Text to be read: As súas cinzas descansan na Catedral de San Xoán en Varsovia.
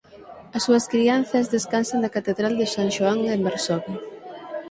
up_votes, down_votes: 0, 6